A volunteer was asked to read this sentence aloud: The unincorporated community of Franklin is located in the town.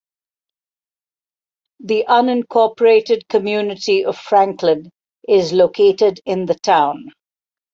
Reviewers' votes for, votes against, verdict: 2, 1, accepted